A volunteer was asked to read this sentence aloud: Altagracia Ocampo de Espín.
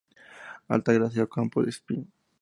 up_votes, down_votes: 2, 0